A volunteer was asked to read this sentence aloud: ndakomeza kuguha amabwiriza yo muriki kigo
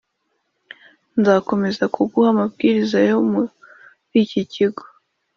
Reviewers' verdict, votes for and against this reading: accepted, 2, 1